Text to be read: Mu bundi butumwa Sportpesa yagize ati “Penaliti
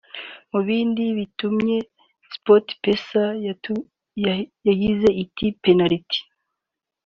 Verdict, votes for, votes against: rejected, 0, 2